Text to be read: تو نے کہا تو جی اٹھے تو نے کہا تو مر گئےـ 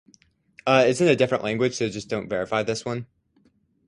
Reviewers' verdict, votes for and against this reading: rejected, 0, 4